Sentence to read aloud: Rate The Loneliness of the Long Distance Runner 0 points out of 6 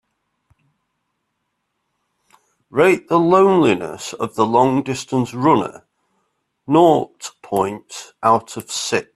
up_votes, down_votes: 0, 2